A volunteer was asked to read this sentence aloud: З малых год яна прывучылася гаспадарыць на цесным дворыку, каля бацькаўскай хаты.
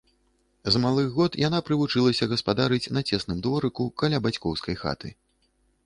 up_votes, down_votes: 0, 2